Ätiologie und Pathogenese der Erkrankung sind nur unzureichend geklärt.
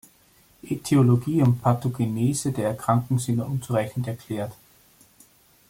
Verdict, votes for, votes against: rejected, 1, 2